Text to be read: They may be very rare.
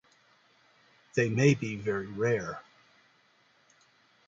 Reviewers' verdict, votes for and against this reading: rejected, 1, 2